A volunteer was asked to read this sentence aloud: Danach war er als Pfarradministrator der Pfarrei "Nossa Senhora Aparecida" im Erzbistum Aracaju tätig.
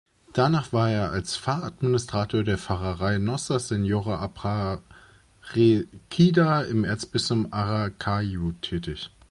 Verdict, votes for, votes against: rejected, 0, 2